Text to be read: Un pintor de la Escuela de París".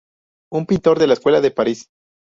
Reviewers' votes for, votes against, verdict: 0, 2, rejected